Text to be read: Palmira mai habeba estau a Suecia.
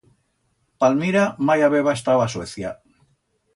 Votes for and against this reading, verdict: 2, 0, accepted